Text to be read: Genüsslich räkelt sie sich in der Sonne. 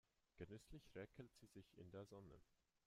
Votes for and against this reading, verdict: 0, 2, rejected